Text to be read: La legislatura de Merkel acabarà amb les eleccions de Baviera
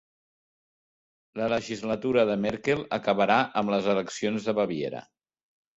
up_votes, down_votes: 3, 0